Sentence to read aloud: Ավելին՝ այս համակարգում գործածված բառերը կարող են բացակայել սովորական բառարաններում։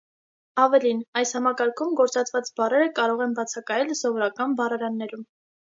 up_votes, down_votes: 3, 0